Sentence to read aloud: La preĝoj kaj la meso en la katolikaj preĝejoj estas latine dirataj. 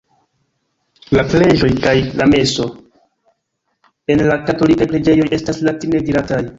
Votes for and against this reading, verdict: 1, 2, rejected